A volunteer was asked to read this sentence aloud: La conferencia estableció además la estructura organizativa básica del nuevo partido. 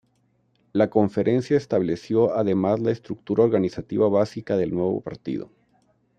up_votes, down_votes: 2, 0